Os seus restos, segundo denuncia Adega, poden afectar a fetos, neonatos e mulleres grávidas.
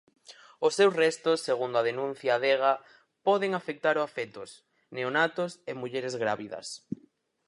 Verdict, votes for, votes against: rejected, 0, 4